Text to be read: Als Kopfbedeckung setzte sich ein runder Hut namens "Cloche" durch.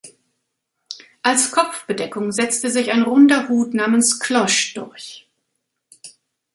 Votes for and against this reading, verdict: 2, 1, accepted